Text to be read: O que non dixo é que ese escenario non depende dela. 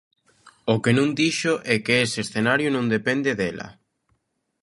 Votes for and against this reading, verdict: 2, 0, accepted